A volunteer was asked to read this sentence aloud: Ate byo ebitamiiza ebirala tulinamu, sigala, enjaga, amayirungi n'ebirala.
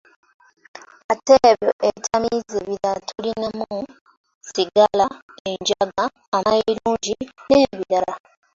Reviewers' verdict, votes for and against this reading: accepted, 2, 1